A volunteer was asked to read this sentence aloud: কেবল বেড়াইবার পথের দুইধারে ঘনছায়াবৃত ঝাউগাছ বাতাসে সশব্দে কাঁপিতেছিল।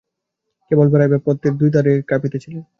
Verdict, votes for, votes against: rejected, 0, 2